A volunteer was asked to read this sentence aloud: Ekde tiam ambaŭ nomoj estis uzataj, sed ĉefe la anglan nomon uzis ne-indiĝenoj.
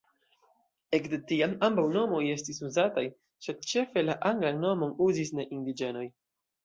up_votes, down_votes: 2, 0